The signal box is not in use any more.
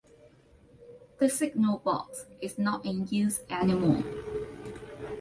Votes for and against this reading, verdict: 2, 0, accepted